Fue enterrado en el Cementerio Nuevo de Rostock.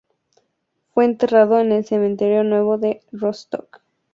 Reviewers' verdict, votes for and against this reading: accepted, 2, 0